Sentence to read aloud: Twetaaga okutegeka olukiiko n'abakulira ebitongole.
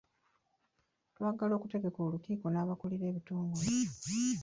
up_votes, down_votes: 0, 2